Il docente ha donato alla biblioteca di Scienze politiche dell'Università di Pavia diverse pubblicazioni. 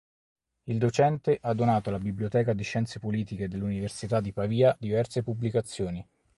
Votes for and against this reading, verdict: 4, 0, accepted